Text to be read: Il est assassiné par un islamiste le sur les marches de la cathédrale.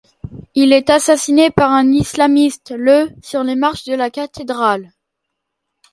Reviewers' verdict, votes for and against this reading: accepted, 2, 0